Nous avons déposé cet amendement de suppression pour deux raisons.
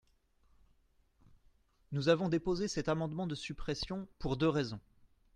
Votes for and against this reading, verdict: 2, 0, accepted